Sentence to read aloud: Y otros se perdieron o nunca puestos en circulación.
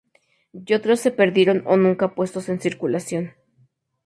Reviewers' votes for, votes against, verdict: 2, 0, accepted